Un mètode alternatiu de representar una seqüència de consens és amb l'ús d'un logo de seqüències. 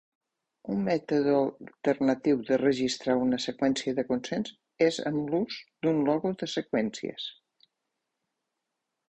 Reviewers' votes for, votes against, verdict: 0, 2, rejected